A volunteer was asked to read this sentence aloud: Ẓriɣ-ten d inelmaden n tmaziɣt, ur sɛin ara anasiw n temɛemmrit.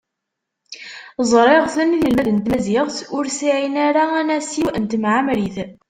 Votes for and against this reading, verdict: 0, 2, rejected